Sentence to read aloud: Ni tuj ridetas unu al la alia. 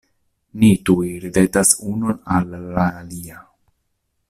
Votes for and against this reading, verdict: 2, 0, accepted